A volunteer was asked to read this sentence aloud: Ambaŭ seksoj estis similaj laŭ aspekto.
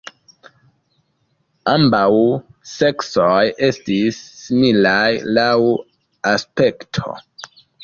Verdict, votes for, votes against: accepted, 2, 0